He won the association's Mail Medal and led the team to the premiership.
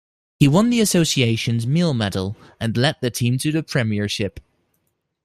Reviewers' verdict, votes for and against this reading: rejected, 0, 2